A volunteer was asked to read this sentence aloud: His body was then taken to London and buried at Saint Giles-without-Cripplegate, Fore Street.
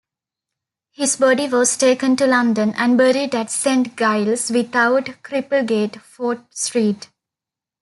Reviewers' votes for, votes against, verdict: 1, 2, rejected